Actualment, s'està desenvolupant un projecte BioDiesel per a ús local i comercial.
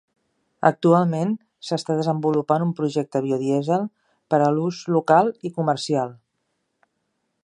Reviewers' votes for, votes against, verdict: 1, 2, rejected